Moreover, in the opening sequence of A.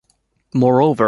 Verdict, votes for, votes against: rejected, 0, 2